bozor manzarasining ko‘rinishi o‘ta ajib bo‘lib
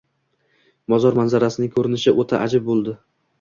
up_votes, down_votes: 2, 0